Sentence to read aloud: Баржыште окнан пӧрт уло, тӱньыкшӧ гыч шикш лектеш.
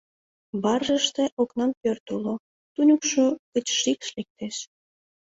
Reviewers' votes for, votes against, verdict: 0, 2, rejected